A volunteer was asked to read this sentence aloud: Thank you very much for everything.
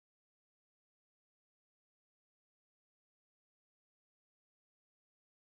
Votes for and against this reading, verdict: 0, 2, rejected